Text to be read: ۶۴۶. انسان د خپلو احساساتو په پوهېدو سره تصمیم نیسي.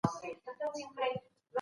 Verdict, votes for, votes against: rejected, 0, 2